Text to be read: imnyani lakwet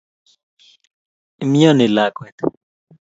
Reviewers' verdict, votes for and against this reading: accepted, 2, 0